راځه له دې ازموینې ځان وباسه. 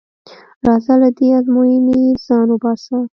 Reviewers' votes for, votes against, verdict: 1, 2, rejected